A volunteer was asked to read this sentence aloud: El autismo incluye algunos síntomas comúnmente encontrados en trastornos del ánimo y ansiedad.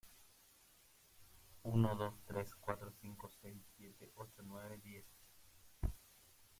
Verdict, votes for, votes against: rejected, 0, 2